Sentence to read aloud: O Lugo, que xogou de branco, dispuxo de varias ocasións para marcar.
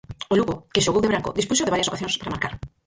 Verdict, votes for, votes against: rejected, 0, 4